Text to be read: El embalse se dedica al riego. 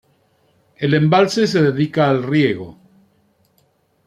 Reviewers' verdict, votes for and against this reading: accepted, 2, 1